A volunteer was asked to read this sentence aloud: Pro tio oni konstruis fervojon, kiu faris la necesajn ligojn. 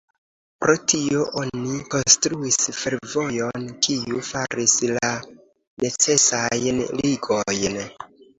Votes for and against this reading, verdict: 2, 0, accepted